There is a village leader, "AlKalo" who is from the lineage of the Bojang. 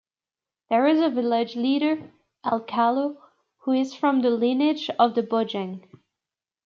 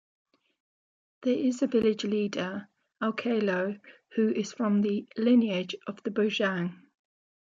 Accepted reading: first